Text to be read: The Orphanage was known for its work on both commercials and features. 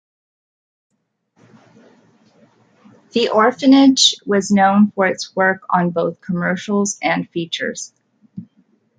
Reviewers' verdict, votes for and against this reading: accepted, 2, 0